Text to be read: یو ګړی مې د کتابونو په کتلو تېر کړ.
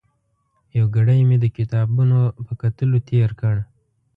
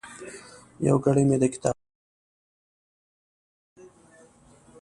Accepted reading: first